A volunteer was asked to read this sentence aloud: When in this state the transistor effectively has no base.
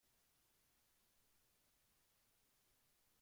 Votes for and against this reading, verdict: 0, 2, rejected